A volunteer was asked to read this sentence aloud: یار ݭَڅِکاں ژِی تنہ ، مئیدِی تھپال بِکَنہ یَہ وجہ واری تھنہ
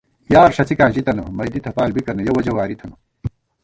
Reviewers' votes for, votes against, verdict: 1, 2, rejected